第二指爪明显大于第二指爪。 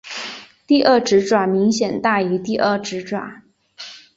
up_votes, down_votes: 2, 0